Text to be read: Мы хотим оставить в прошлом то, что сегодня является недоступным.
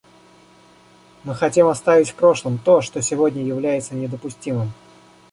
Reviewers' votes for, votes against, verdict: 1, 2, rejected